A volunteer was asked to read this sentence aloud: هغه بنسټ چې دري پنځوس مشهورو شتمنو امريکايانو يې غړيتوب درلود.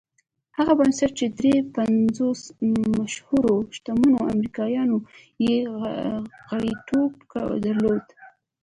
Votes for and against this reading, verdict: 1, 2, rejected